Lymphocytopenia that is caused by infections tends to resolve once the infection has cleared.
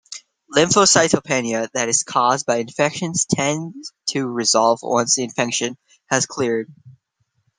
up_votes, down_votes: 2, 0